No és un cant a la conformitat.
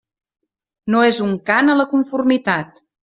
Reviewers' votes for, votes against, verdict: 3, 0, accepted